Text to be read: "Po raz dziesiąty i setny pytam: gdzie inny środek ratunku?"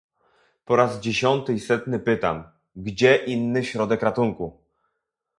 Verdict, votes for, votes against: accepted, 2, 0